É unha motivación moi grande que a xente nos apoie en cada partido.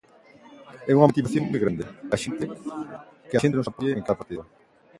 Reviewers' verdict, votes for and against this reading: rejected, 0, 2